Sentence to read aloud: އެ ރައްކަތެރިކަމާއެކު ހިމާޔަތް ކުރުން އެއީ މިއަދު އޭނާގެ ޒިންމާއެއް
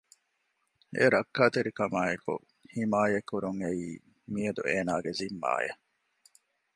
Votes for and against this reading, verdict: 2, 1, accepted